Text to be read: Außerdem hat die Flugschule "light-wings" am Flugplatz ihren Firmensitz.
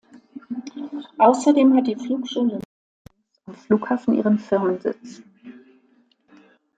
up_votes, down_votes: 0, 2